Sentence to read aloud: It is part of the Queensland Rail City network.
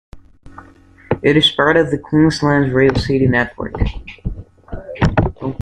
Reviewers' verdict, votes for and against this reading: accepted, 2, 0